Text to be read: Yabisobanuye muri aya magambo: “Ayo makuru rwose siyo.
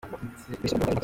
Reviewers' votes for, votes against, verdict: 0, 2, rejected